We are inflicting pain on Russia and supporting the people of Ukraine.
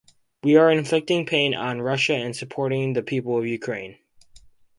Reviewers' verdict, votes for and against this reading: accepted, 4, 0